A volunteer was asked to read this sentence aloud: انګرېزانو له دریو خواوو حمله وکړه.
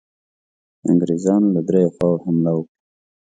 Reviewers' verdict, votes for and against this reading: accepted, 2, 0